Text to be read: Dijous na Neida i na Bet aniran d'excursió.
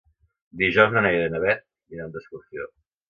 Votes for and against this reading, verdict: 1, 2, rejected